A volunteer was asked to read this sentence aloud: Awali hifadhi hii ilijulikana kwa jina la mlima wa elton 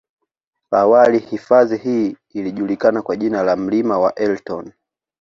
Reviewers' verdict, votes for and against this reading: accepted, 2, 0